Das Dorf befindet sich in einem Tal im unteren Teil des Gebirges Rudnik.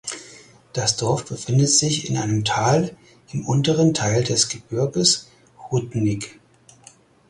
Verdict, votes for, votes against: accepted, 4, 0